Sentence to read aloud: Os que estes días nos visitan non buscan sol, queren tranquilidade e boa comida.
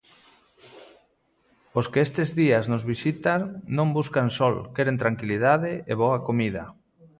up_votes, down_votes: 2, 0